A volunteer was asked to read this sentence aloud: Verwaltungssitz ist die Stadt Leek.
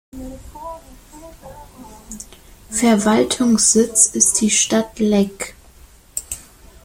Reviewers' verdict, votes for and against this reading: rejected, 1, 2